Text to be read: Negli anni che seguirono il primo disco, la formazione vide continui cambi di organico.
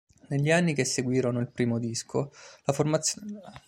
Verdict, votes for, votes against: rejected, 0, 2